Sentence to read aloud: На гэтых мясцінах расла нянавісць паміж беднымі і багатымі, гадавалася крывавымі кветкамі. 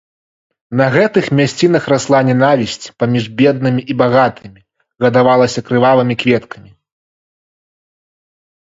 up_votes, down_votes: 2, 0